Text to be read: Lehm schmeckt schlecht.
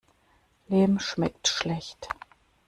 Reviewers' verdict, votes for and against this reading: rejected, 1, 2